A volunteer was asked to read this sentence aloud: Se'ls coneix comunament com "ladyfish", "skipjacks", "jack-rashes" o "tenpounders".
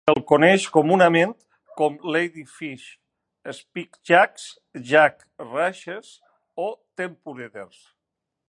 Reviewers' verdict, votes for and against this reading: rejected, 0, 2